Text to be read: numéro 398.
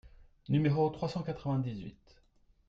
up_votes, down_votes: 0, 2